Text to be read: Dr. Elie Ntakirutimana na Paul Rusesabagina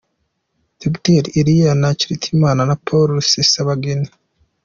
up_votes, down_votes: 2, 1